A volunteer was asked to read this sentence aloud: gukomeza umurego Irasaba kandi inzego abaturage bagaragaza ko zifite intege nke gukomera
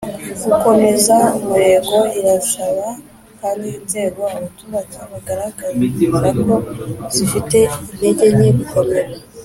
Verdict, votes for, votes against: accepted, 2, 0